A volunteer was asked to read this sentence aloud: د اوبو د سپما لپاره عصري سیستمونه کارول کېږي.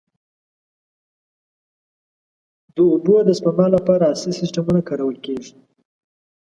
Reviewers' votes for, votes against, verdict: 2, 0, accepted